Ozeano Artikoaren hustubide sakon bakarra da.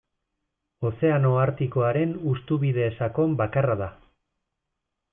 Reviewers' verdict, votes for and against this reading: accepted, 2, 1